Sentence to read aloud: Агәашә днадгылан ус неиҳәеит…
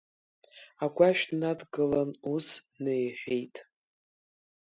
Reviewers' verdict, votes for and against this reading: rejected, 1, 2